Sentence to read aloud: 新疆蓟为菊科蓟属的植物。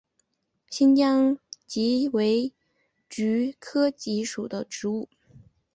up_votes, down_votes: 2, 0